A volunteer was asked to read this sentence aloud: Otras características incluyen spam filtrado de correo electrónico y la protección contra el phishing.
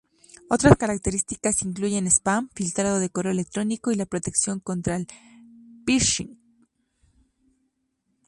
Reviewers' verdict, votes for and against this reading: accepted, 2, 0